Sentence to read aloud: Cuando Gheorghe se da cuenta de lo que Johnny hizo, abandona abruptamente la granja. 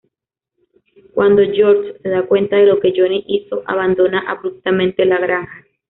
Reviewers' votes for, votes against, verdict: 1, 2, rejected